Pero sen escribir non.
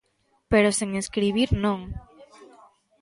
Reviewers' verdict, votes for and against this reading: accepted, 2, 0